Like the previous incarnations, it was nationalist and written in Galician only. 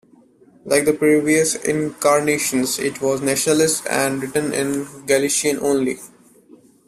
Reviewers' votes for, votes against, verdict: 2, 1, accepted